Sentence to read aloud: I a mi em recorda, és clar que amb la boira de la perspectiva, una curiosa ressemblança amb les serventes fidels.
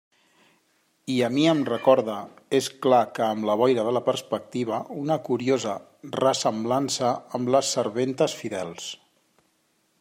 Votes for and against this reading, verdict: 3, 0, accepted